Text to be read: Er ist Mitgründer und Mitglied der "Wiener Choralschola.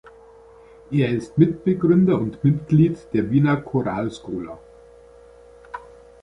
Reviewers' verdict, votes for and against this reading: rejected, 0, 2